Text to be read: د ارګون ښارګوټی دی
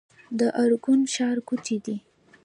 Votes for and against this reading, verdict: 1, 3, rejected